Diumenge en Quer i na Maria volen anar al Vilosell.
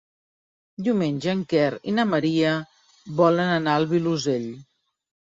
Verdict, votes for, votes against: accepted, 4, 0